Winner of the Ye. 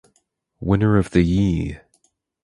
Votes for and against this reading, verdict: 2, 2, rejected